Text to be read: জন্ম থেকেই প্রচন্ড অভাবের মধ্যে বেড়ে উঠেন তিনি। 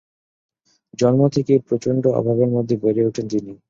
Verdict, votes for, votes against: accepted, 2, 0